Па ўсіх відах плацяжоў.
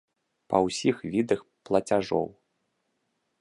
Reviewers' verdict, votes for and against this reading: accepted, 2, 0